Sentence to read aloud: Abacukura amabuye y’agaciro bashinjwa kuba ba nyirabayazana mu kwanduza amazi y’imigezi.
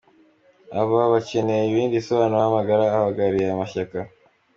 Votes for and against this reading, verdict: 0, 2, rejected